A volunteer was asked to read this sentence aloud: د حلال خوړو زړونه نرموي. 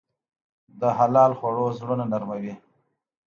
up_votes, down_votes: 2, 0